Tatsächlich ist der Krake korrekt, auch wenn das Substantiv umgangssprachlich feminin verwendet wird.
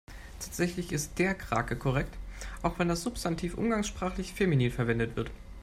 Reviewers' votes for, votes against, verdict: 2, 0, accepted